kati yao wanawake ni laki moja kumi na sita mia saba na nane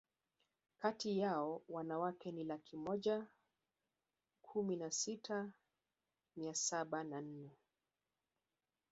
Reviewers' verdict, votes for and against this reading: accepted, 3, 1